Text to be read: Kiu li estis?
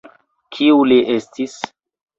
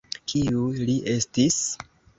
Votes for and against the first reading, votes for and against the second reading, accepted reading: 2, 1, 1, 2, first